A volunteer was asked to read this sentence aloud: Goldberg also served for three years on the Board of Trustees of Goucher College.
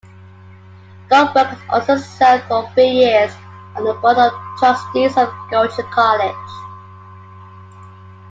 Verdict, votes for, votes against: accepted, 2, 1